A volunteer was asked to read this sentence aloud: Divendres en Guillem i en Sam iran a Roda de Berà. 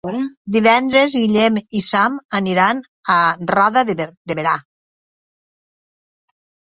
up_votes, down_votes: 0, 2